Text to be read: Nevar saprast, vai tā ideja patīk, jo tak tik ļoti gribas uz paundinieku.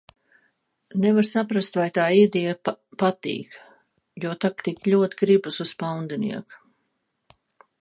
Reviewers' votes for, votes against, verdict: 0, 2, rejected